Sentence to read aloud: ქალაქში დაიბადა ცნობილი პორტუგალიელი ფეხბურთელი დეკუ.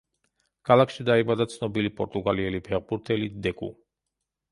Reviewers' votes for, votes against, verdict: 2, 0, accepted